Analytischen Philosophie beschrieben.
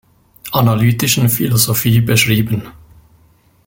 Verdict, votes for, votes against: accepted, 2, 0